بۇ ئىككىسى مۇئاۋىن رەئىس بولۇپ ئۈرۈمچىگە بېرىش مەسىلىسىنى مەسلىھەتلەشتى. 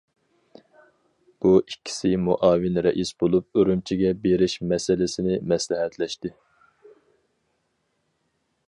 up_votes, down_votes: 4, 0